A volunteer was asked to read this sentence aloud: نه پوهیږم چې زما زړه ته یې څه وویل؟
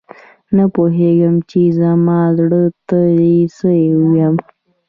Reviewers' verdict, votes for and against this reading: accepted, 2, 1